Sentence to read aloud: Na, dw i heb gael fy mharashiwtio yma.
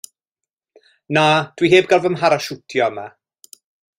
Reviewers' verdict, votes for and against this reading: accepted, 2, 0